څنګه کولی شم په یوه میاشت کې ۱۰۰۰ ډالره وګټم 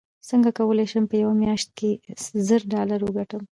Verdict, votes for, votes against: rejected, 0, 2